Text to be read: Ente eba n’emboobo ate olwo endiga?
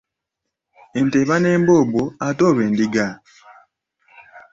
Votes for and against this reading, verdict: 2, 0, accepted